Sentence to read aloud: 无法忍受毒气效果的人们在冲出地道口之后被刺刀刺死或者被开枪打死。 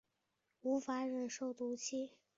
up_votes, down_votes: 0, 3